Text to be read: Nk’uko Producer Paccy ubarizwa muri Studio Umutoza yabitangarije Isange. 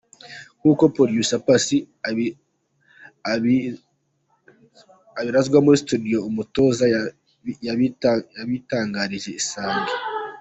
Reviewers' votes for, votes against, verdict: 0, 2, rejected